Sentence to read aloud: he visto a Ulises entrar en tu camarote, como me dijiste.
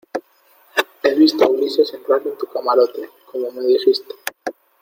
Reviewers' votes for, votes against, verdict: 2, 0, accepted